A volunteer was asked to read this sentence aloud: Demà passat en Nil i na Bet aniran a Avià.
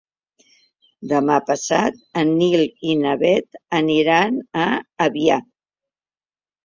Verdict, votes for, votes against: accepted, 2, 0